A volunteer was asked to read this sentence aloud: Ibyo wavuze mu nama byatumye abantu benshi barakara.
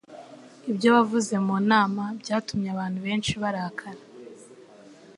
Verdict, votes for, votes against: accepted, 2, 0